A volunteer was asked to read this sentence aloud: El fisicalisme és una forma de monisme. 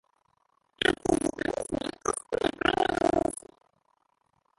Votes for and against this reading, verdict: 0, 2, rejected